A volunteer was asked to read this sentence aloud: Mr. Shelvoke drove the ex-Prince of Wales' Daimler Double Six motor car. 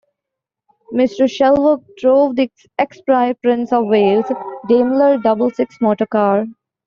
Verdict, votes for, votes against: rejected, 0, 2